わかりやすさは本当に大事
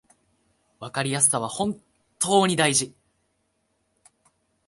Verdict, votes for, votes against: accepted, 2, 0